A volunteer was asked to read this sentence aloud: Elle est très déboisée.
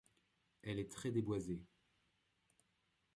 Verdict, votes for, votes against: accepted, 2, 0